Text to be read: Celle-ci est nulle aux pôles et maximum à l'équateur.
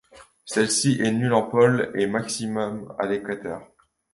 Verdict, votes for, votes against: rejected, 1, 2